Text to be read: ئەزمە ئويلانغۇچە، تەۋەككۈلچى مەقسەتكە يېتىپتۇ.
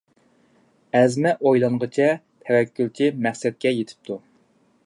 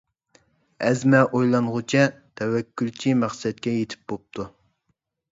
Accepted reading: first